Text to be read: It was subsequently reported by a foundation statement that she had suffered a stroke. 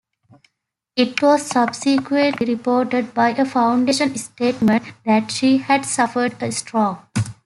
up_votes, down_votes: 0, 2